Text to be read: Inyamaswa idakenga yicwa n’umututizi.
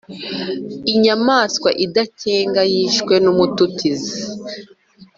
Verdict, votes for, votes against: rejected, 1, 2